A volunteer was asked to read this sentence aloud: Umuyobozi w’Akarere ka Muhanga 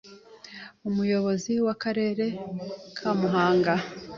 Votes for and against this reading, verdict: 2, 0, accepted